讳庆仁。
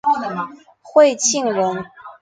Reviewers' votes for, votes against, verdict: 3, 2, accepted